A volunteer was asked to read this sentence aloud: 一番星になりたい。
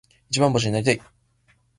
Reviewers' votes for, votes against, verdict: 2, 0, accepted